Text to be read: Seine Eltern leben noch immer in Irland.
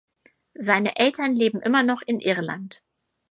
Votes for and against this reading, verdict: 0, 4, rejected